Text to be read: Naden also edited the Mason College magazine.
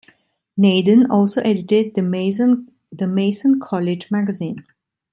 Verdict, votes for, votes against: rejected, 0, 2